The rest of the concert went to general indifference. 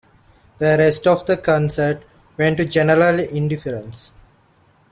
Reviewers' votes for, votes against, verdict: 2, 0, accepted